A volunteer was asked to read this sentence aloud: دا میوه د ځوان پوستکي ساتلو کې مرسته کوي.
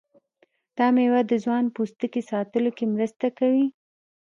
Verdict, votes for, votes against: rejected, 1, 2